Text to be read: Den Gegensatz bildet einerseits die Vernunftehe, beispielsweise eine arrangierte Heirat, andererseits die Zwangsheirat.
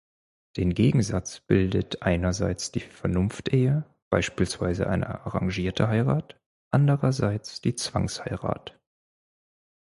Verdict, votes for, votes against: accepted, 4, 0